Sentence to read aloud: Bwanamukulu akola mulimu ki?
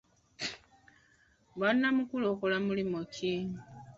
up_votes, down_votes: 1, 2